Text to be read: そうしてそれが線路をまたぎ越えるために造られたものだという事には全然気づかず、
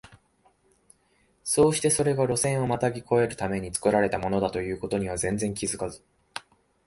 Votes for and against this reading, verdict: 2, 0, accepted